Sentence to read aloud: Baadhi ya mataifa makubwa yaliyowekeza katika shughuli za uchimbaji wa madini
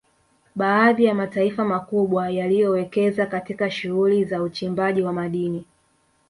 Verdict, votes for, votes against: rejected, 1, 2